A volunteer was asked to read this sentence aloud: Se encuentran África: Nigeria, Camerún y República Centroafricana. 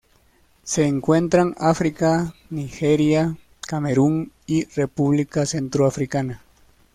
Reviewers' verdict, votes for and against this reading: accepted, 2, 0